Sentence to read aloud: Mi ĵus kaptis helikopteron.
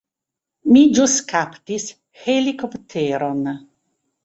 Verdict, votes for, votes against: accepted, 3, 0